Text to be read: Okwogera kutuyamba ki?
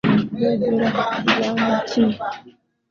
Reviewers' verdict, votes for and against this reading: rejected, 1, 2